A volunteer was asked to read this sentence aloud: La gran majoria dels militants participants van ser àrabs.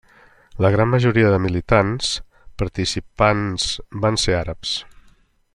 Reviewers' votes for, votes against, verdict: 0, 2, rejected